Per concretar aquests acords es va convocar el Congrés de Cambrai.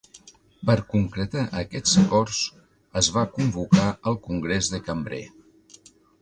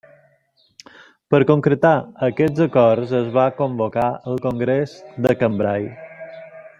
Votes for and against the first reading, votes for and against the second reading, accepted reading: 2, 0, 0, 2, first